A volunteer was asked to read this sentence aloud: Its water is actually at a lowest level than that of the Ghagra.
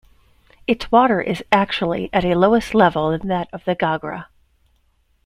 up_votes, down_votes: 0, 2